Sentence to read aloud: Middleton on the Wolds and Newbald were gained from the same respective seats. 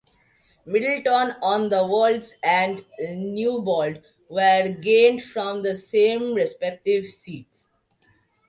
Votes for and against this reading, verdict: 2, 1, accepted